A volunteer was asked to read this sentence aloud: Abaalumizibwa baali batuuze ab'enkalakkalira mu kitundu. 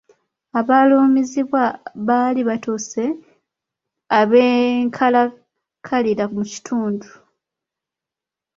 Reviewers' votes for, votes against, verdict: 0, 2, rejected